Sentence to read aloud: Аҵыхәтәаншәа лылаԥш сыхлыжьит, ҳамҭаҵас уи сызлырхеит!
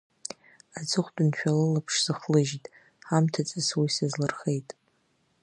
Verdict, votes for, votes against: accepted, 2, 0